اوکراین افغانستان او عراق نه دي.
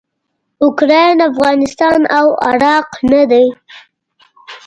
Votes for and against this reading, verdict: 1, 2, rejected